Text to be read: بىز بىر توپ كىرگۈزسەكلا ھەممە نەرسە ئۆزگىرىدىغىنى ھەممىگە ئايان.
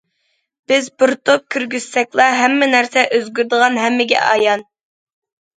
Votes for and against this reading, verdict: 0, 2, rejected